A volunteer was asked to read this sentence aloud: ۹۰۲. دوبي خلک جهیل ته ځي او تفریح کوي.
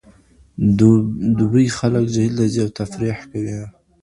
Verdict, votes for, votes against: rejected, 0, 2